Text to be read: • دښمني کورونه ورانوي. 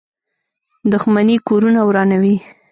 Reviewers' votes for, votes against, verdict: 1, 2, rejected